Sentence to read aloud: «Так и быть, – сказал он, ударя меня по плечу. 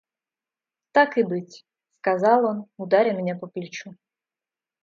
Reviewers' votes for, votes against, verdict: 2, 0, accepted